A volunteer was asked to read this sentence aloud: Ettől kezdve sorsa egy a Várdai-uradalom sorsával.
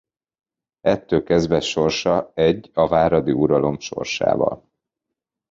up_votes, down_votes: 0, 2